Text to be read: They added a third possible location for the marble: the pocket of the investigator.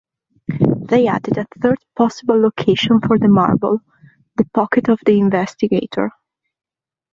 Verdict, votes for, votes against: accepted, 2, 0